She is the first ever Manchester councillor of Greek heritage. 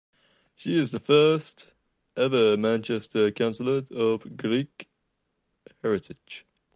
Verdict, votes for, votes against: rejected, 1, 2